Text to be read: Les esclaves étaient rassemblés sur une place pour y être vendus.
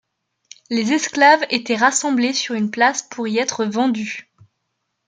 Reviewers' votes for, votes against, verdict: 2, 0, accepted